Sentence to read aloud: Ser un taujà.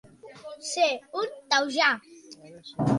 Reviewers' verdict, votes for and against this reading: accepted, 2, 0